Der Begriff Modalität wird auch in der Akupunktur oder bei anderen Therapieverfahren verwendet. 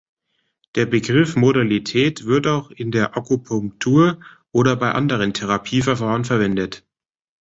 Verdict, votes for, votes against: accepted, 2, 1